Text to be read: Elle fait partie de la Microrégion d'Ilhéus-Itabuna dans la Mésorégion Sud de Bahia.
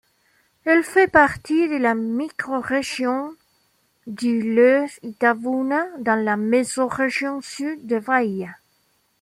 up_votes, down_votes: 1, 2